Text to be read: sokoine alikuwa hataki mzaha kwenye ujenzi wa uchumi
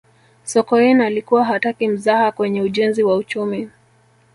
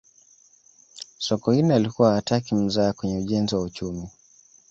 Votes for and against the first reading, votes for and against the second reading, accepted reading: 1, 2, 2, 0, second